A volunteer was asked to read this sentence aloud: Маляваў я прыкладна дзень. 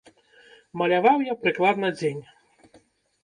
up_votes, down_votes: 0, 2